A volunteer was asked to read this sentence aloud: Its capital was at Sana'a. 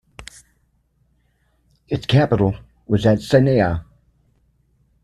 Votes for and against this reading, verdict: 2, 0, accepted